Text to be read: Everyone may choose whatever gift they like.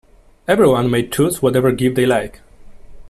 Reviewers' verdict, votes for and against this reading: accepted, 2, 0